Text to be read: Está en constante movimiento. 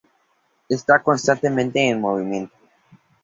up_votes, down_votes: 0, 2